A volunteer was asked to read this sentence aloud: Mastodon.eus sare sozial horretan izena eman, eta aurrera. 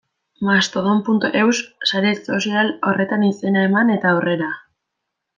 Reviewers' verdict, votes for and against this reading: rejected, 1, 2